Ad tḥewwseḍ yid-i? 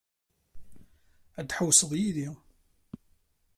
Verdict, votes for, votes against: accepted, 2, 0